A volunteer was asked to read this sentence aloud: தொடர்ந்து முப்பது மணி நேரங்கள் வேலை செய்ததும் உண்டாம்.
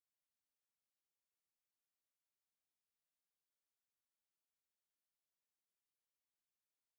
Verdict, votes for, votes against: rejected, 0, 2